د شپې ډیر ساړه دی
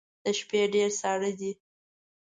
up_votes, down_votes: 2, 0